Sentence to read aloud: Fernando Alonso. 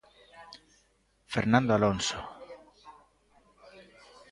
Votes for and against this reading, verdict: 2, 0, accepted